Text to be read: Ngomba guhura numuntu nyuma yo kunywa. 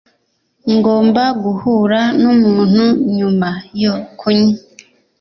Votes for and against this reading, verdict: 2, 0, accepted